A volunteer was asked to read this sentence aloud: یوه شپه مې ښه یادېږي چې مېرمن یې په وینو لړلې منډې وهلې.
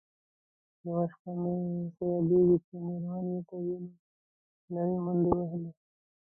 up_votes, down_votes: 0, 2